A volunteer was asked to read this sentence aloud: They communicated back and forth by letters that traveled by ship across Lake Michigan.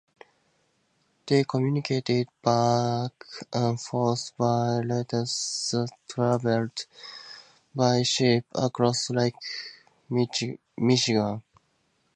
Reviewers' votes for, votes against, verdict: 2, 0, accepted